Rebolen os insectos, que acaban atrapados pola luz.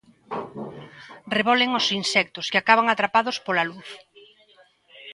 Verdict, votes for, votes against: accepted, 2, 1